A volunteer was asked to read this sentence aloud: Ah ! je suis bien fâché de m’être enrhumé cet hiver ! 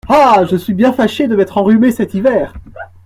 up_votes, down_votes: 2, 0